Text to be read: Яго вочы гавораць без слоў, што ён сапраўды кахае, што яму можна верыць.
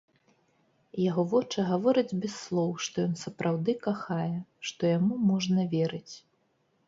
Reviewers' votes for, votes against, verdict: 1, 2, rejected